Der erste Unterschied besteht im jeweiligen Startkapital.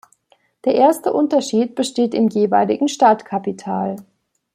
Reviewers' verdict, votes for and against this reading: accepted, 2, 0